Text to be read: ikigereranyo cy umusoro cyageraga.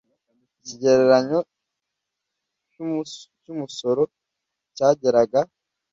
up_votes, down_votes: 1, 2